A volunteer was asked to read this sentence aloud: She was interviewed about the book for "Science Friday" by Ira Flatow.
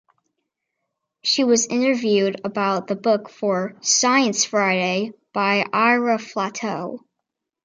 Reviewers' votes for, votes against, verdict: 2, 1, accepted